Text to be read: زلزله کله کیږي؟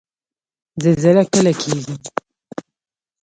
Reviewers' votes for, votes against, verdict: 2, 0, accepted